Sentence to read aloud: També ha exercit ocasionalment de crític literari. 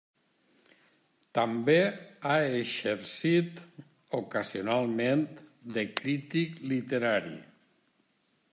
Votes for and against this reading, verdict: 1, 2, rejected